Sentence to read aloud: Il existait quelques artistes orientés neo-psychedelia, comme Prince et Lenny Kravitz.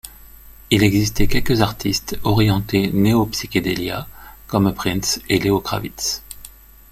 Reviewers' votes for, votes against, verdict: 1, 2, rejected